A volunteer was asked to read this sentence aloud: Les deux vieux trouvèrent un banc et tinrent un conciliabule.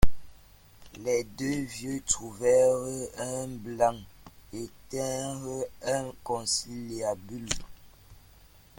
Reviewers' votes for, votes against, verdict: 0, 2, rejected